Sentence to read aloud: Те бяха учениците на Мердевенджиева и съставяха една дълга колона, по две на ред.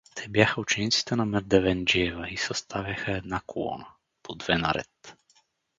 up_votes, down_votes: 0, 2